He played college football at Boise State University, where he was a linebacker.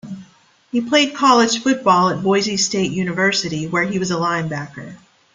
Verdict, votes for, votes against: accepted, 2, 0